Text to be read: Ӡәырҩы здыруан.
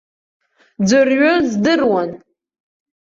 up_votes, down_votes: 2, 0